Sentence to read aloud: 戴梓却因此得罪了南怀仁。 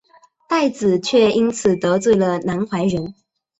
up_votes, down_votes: 3, 0